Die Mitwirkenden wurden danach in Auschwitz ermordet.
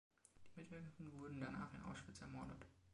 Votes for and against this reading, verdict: 2, 0, accepted